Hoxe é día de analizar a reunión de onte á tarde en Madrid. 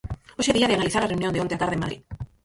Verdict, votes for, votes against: rejected, 0, 4